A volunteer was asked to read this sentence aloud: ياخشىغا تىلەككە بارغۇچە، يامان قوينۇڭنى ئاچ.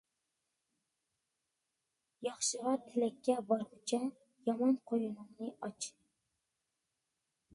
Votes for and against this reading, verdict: 2, 1, accepted